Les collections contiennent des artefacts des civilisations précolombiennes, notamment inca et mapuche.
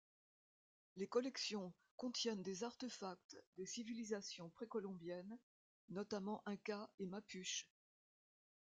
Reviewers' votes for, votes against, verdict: 2, 0, accepted